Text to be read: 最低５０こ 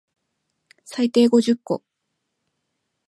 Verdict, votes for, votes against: rejected, 0, 2